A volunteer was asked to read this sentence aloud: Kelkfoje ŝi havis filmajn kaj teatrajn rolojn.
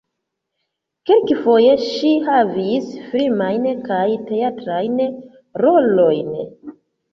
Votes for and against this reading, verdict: 2, 1, accepted